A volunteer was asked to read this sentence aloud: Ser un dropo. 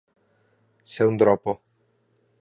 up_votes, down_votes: 2, 0